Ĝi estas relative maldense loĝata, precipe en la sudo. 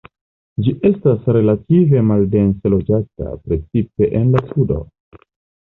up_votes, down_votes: 1, 2